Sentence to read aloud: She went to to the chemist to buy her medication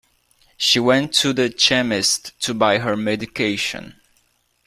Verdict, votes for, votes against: rejected, 0, 2